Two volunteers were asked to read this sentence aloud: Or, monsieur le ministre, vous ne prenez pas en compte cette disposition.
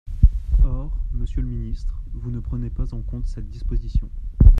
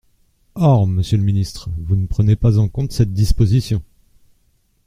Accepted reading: second